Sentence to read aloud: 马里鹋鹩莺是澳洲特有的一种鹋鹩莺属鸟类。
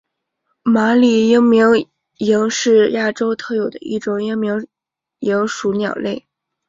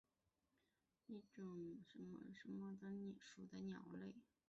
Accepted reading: first